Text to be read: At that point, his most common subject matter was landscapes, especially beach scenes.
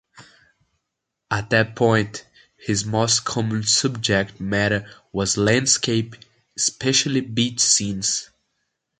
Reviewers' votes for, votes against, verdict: 2, 1, accepted